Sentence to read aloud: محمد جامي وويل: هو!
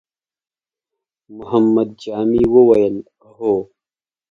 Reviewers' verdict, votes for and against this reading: accepted, 2, 0